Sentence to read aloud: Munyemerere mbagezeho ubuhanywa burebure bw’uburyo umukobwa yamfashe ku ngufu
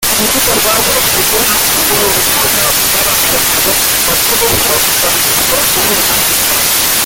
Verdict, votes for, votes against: rejected, 0, 2